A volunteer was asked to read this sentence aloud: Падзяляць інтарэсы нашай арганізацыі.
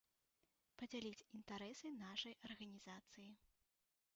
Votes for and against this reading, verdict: 2, 1, accepted